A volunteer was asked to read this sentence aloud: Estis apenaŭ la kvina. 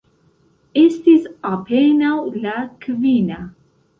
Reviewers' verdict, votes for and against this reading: accepted, 2, 0